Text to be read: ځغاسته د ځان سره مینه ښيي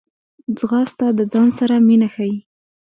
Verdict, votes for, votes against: rejected, 1, 2